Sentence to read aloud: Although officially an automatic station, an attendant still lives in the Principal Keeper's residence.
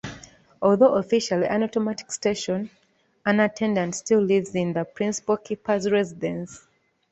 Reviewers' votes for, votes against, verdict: 2, 0, accepted